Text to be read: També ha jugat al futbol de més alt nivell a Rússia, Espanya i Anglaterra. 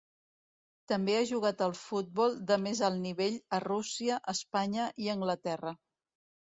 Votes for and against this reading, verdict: 1, 2, rejected